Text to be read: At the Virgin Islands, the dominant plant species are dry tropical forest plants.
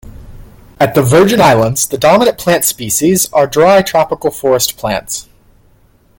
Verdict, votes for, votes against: accepted, 3, 0